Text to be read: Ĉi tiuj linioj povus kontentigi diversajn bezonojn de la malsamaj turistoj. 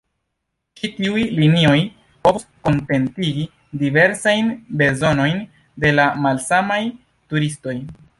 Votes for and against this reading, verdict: 0, 2, rejected